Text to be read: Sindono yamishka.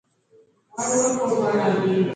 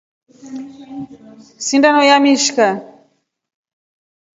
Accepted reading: second